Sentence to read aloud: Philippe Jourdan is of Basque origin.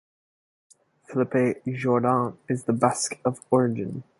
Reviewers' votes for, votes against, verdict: 0, 2, rejected